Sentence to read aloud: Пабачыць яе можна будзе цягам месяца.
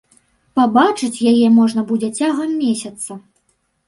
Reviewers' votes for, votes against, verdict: 2, 0, accepted